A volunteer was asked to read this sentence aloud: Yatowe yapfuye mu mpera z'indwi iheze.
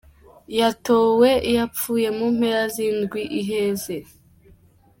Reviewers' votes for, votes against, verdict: 2, 0, accepted